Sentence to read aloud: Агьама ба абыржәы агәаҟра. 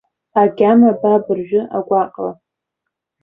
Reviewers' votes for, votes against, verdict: 2, 0, accepted